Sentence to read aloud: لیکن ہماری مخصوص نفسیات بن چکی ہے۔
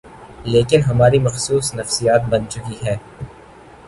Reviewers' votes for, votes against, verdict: 3, 0, accepted